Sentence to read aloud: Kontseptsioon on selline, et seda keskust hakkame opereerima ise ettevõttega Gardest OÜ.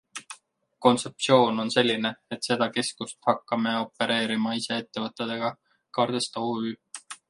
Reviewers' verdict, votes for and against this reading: rejected, 0, 2